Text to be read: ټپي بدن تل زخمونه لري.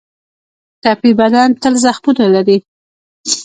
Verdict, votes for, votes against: accepted, 2, 0